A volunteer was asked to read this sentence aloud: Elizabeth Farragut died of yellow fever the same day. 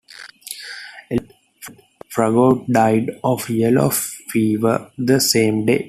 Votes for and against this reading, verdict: 0, 2, rejected